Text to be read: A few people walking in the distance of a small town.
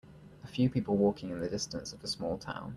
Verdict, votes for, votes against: accepted, 2, 0